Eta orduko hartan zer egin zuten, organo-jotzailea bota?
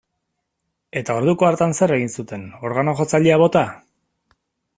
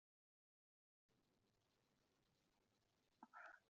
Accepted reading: first